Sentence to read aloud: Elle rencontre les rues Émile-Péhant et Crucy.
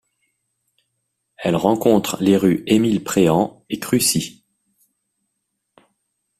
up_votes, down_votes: 1, 2